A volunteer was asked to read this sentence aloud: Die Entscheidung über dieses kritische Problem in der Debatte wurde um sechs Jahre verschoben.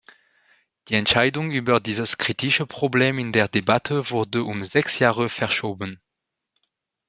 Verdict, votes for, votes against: accepted, 2, 1